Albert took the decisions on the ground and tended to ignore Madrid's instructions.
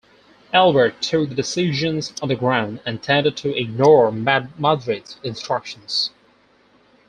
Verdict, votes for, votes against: accepted, 4, 2